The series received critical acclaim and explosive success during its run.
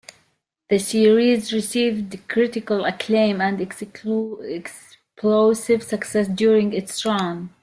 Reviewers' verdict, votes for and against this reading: rejected, 0, 2